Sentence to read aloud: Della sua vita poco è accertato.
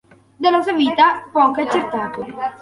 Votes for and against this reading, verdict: 2, 1, accepted